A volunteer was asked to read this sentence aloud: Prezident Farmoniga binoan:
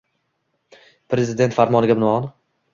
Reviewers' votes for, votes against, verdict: 2, 0, accepted